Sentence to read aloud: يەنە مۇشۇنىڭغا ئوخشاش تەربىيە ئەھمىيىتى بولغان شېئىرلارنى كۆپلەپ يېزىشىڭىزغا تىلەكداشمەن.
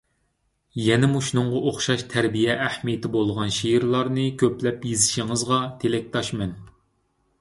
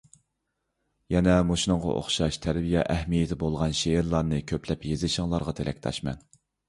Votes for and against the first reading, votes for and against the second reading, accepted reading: 2, 1, 1, 2, first